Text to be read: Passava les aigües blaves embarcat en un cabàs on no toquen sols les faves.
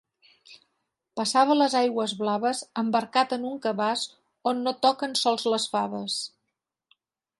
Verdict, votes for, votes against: accepted, 3, 0